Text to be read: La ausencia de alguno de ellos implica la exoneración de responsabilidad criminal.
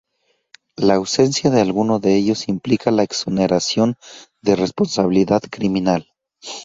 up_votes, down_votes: 0, 2